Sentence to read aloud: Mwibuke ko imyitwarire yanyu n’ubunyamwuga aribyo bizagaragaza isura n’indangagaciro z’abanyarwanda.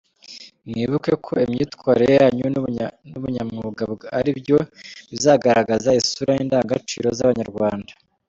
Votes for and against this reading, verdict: 2, 3, rejected